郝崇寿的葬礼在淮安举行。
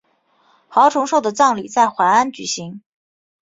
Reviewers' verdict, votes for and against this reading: accepted, 2, 0